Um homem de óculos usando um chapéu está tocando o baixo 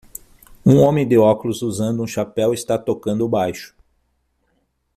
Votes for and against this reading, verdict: 6, 0, accepted